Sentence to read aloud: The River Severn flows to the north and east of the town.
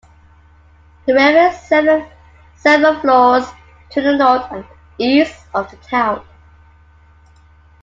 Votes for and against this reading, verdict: 0, 2, rejected